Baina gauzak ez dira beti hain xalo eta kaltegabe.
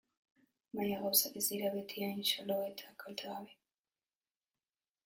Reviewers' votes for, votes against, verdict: 0, 3, rejected